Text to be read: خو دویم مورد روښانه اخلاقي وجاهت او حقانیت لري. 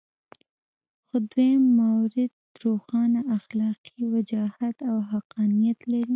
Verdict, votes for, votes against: accepted, 2, 0